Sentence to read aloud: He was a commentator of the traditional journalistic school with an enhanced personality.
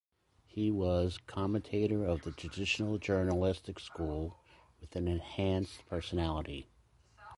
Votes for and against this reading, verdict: 1, 2, rejected